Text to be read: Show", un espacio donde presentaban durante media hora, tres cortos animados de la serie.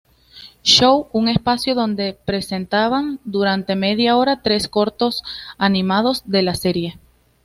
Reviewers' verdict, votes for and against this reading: accepted, 2, 0